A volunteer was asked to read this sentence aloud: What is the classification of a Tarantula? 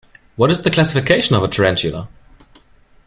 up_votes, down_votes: 2, 0